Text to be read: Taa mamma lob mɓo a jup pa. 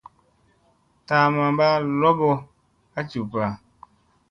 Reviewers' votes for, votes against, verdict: 2, 0, accepted